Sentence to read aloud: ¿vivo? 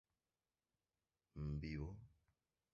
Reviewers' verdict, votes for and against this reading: accepted, 4, 0